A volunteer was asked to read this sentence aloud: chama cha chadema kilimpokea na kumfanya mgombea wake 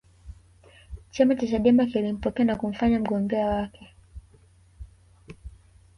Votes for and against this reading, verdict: 3, 0, accepted